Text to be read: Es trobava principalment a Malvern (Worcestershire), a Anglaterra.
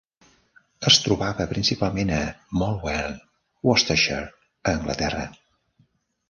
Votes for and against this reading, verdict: 0, 2, rejected